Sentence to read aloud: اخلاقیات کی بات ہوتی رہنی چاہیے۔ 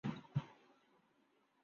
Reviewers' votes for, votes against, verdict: 0, 3, rejected